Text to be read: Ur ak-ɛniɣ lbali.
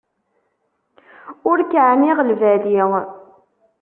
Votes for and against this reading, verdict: 1, 2, rejected